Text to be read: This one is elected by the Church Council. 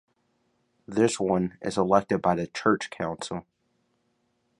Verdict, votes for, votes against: accepted, 2, 0